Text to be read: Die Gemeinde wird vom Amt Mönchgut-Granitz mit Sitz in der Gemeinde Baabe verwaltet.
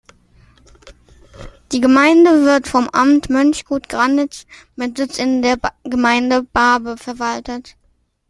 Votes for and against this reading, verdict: 2, 0, accepted